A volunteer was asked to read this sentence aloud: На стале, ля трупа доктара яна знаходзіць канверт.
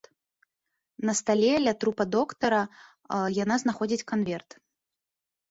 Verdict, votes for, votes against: rejected, 1, 2